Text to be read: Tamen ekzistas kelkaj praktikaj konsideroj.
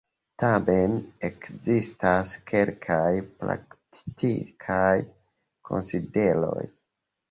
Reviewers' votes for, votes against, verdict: 0, 2, rejected